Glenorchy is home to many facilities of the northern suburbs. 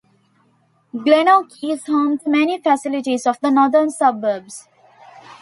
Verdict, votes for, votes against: accepted, 2, 0